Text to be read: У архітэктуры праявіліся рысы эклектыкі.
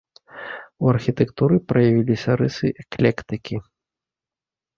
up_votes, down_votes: 2, 0